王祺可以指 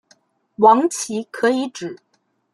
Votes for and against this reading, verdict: 2, 0, accepted